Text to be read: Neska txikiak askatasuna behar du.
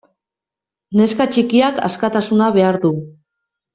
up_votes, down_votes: 2, 0